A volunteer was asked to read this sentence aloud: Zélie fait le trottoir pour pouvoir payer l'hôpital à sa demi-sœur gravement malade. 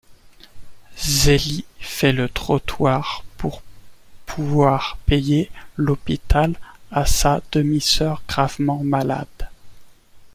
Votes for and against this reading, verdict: 1, 2, rejected